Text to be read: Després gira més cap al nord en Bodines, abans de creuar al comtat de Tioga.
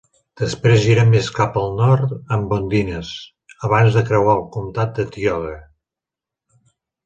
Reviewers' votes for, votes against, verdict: 2, 1, accepted